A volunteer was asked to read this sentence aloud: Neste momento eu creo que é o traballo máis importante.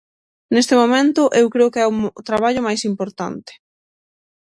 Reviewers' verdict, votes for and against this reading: rejected, 0, 6